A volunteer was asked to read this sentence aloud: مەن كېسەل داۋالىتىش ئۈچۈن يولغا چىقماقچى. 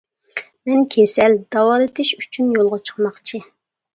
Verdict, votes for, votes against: accepted, 2, 0